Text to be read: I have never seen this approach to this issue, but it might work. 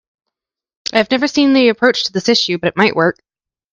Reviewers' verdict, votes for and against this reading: rejected, 1, 2